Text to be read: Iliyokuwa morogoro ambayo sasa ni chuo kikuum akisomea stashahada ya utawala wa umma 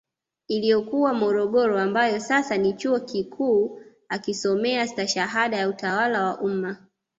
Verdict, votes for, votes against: accepted, 2, 0